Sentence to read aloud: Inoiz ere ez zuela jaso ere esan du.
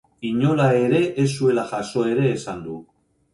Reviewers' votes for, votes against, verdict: 2, 2, rejected